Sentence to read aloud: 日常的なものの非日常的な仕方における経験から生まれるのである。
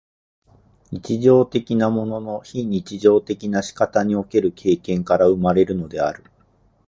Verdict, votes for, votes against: accepted, 4, 0